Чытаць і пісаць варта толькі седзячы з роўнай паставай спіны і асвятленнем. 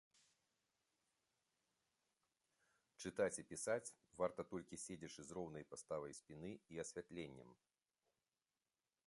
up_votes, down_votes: 3, 0